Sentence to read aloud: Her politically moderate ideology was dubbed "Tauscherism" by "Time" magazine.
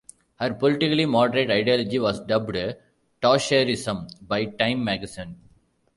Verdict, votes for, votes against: rejected, 0, 2